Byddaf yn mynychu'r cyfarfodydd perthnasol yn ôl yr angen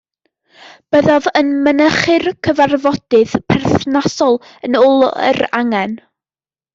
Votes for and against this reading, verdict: 2, 1, accepted